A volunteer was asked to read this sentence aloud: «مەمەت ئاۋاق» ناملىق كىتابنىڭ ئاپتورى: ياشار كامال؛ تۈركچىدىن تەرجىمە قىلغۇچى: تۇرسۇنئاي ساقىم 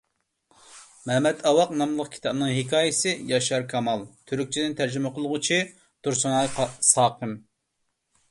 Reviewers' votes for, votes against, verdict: 0, 2, rejected